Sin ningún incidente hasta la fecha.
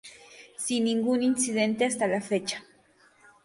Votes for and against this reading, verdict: 0, 2, rejected